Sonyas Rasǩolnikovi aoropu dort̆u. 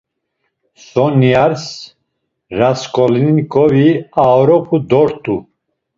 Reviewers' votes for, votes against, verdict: 2, 0, accepted